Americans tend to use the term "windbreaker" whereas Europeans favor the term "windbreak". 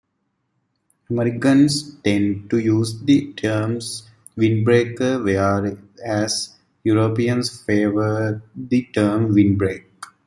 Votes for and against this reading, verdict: 0, 2, rejected